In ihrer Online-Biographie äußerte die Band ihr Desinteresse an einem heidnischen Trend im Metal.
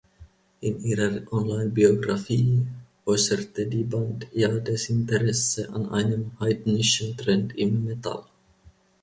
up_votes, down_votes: 1, 2